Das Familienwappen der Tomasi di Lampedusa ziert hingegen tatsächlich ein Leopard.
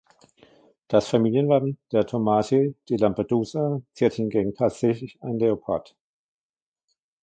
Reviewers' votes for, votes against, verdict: 1, 2, rejected